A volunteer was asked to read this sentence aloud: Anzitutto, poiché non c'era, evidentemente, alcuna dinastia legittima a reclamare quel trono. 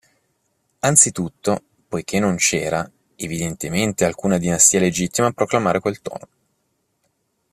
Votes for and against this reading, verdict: 1, 2, rejected